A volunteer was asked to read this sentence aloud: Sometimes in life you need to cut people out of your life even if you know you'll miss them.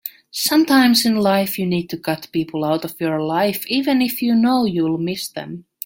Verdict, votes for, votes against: accepted, 2, 0